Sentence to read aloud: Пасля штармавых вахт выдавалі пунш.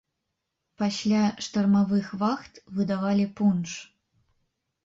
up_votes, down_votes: 2, 0